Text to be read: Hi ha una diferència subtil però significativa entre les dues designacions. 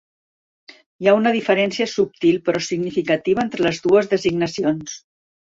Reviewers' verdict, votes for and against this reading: accepted, 2, 0